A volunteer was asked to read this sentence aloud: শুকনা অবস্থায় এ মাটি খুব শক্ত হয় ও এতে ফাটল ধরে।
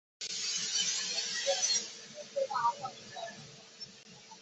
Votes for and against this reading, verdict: 0, 2, rejected